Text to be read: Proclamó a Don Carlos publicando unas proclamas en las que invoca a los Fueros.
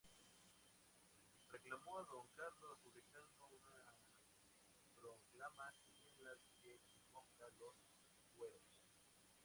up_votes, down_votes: 0, 2